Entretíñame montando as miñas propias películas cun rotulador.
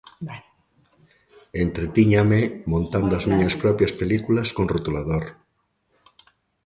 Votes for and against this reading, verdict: 0, 3, rejected